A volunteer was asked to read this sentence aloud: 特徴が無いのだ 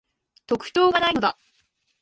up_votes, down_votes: 1, 2